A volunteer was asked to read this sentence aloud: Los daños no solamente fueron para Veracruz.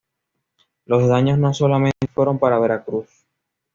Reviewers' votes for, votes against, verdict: 2, 0, accepted